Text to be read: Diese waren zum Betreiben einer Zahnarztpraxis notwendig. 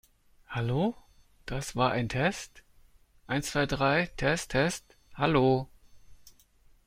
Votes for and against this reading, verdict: 0, 2, rejected